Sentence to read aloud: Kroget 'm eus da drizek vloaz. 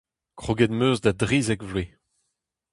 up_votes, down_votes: 2, 0